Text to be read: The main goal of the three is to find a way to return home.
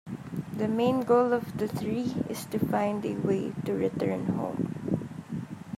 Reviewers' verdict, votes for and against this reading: rejected, 0, 2